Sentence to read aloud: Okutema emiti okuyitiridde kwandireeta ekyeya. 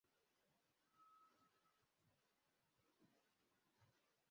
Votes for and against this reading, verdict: 0, 2, rejected